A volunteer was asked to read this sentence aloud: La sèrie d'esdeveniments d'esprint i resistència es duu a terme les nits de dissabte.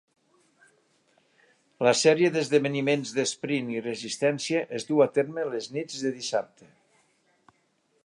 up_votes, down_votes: 3, 0